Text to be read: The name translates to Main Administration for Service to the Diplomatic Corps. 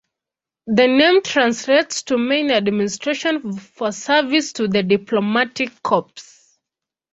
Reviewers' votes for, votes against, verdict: 0, 2, rejected